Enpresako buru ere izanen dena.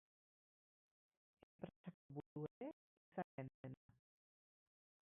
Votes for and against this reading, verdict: 0, 4, rejected